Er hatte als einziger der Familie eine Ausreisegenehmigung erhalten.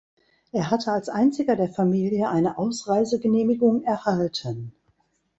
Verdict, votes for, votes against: rejected, 1, 2